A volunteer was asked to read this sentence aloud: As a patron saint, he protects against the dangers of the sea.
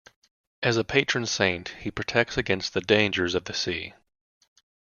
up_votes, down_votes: 2, 0